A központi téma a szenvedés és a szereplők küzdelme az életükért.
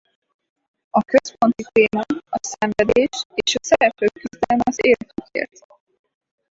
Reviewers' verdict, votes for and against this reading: rejected, 0, 6